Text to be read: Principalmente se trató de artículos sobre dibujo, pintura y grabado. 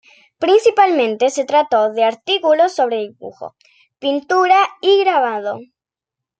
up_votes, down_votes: 2, 1